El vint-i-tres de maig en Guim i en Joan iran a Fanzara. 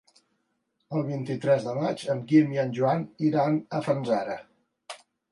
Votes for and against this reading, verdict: 2, 0, accepted